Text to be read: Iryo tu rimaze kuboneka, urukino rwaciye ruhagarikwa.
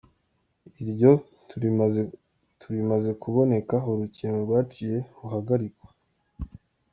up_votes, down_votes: 0, 2